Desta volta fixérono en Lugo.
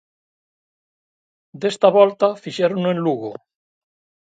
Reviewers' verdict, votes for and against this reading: accepted, 2, 0